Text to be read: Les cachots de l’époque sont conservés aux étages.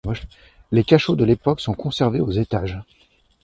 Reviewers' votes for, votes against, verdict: 0, 2, rejected